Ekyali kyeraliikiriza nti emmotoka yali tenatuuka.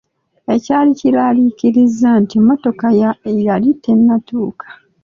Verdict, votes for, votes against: rejected, 1, 2